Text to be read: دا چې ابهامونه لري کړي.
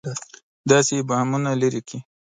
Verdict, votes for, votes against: rejected, 1, 2